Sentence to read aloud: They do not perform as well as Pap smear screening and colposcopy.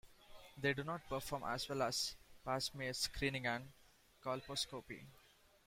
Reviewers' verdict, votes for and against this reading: accepted, 2, 1